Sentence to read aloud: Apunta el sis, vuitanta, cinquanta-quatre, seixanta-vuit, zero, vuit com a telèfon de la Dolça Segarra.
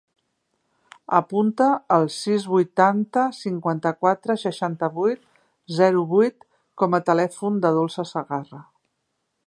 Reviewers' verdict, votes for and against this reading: rejected, 0, 2